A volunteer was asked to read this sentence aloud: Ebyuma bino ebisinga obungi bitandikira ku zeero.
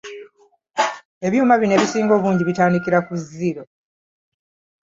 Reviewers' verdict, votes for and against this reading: rejected, 1, 2